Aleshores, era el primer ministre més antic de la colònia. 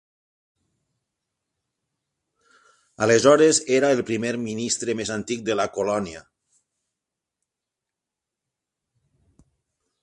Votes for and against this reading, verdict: 12, 0, accepted